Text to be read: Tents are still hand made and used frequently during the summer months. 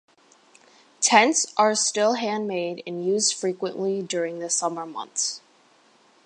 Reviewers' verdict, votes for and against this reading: accepted, 2, 0